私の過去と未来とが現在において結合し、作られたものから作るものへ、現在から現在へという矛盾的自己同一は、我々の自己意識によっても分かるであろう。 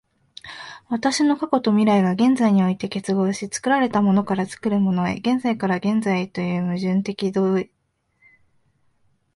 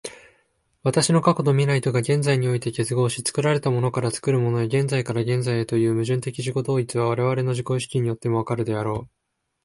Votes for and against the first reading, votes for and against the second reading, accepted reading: 0, 2, 2, 0, second